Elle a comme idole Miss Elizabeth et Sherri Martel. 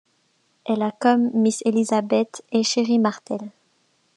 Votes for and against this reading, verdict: 0, 2, rejected